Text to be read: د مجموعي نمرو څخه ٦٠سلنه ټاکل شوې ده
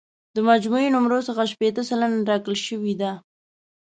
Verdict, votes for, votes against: rejected, 0, 2